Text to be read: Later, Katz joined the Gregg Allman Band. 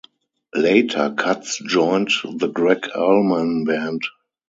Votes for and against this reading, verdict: 0, 2, rejected